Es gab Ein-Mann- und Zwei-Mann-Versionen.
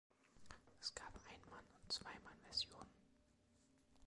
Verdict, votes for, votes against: accepted, 2, 0